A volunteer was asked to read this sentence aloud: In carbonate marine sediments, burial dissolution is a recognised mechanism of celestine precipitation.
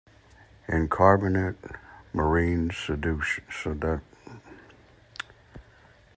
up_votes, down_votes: 0, 2